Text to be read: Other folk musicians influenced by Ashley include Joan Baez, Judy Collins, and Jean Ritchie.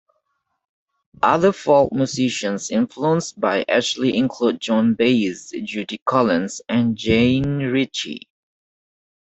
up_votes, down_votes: 2, 1